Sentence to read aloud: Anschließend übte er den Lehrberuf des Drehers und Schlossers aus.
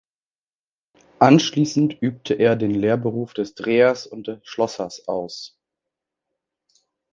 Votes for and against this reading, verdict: 1, 2, rejected